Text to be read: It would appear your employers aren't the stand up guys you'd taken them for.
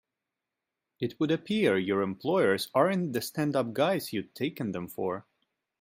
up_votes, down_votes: 2, 1